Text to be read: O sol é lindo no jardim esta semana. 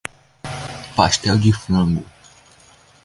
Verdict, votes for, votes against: rejected, 0, 2